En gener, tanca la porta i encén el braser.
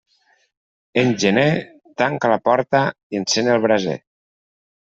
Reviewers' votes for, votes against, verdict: 3, 0, accepted